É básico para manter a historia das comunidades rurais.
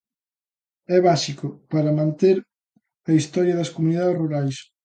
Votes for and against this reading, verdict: 2, 0, accepted